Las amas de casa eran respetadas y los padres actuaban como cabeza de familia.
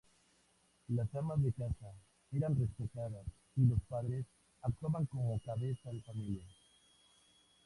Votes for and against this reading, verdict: 0, 2, rejected